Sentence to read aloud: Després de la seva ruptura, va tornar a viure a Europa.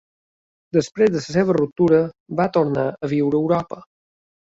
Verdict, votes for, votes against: rejected, 1, 2